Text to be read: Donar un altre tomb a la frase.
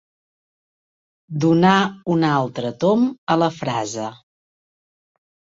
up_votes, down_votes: 2, 0